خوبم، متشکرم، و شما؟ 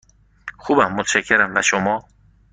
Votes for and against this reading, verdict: 2, 0, accepted